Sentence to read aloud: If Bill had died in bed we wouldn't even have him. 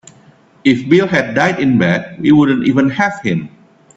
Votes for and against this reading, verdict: 2, 0, accepted